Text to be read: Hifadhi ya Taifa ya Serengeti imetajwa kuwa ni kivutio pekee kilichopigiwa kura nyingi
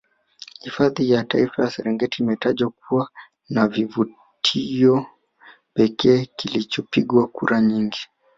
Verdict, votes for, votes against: accepted, 3, 2